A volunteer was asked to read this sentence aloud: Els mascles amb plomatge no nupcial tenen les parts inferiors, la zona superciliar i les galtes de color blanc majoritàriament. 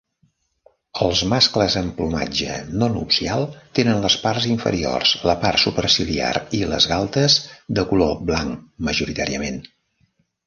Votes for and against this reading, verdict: 1, 2, rejected